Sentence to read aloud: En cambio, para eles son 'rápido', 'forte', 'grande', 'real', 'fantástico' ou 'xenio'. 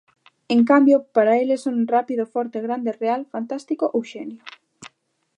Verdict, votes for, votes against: accepted, 3, 0